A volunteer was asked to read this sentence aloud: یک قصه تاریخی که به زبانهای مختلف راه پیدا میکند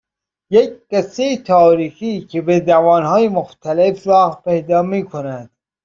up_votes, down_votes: 2, 0